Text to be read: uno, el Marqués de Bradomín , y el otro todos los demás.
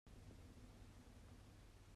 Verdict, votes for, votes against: rejected, 0, 2